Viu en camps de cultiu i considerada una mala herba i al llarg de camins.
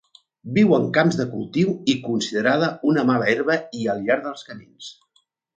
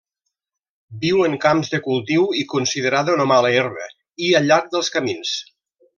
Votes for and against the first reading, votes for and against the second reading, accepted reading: 4, 0, 0, 2, first